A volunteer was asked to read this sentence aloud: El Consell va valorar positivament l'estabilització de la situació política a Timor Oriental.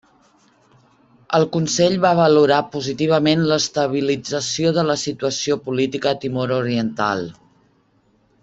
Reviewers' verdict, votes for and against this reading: rejected, 1, 2